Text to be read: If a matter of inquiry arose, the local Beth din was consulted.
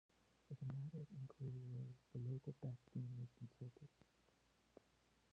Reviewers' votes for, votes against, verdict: 1, 2, rejected